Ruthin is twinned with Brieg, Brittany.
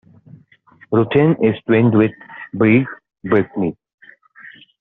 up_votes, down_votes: 2, 1